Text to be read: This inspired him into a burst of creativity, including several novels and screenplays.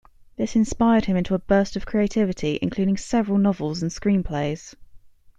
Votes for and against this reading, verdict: 2, 0, accepted